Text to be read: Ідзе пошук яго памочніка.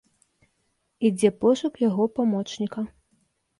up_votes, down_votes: 2, 0